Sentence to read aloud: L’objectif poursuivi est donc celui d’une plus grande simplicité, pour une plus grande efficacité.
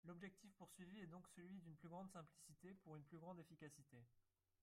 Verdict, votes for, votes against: accepted, 2, 1